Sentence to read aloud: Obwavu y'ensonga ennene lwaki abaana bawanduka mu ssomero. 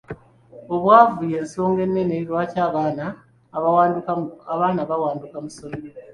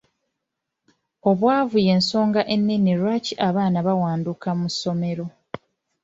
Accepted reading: second